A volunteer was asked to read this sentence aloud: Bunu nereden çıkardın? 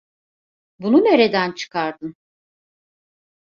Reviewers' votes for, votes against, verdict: 2, 0, accepted